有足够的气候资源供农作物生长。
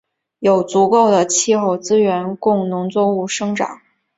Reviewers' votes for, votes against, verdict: 3, 1, accepted